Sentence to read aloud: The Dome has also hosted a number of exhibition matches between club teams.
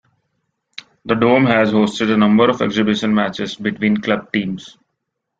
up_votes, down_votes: 1, 2